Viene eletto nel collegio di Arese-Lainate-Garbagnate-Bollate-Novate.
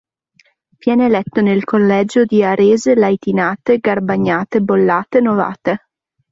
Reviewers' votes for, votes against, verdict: 1, 2, rejected